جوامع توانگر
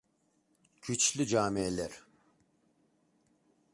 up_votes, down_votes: 0, 2